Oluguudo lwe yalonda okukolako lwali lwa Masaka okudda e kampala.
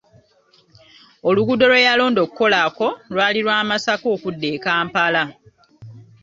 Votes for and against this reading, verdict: 1, 2, rejected